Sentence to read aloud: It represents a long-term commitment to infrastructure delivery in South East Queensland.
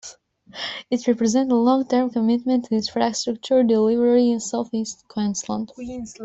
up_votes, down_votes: 0, 2